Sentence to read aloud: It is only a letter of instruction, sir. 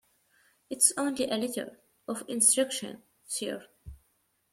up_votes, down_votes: 1, 2